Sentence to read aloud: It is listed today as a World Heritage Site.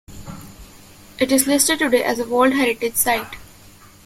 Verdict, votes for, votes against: accepted, 2, 1